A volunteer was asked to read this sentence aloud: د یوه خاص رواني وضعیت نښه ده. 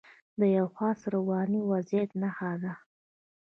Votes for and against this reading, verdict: 2, 0, accepted